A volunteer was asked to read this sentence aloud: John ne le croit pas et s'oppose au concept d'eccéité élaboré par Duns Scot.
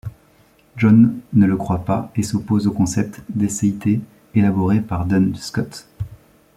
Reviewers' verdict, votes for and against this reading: accepted, 2, 0